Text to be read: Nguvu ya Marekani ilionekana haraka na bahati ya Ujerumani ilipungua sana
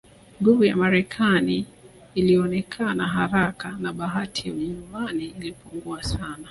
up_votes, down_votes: 1, 3